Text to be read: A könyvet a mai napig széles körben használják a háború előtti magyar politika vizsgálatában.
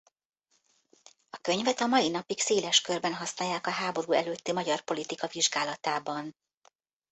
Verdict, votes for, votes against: rejected, 1, 2